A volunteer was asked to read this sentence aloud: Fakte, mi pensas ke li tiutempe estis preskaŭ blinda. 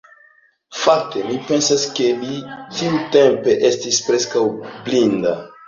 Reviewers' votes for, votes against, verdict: 1, 2, rejected